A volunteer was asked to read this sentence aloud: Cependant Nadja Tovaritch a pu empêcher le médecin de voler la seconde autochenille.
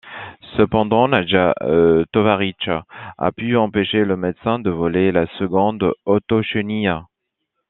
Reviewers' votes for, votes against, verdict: 2, 0, accepted